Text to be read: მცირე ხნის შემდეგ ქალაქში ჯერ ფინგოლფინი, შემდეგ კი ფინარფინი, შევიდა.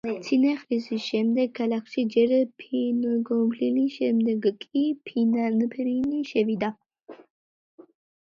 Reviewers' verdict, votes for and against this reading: rejected, 0, 2